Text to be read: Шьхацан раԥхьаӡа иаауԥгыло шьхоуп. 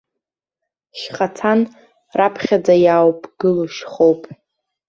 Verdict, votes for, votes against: accepted, 2, 1